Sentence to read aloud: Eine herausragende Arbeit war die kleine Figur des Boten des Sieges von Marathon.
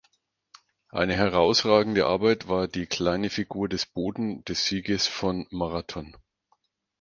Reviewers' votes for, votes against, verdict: 4, 2, accepted